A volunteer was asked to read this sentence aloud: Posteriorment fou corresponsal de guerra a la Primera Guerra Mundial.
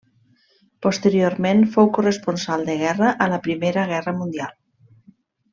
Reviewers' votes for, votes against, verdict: 3, 0, accepted